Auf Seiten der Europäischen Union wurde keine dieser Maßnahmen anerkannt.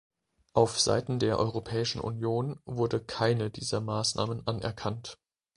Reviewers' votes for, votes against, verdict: 2, 0, accepted